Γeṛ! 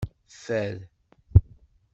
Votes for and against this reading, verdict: 0, 2, rejected